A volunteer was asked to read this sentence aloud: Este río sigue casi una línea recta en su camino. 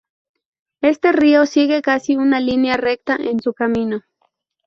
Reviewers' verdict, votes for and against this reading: accepted, 2, 0